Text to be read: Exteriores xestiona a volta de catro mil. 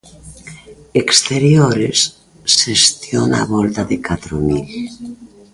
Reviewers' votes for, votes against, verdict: 1, 2, rejected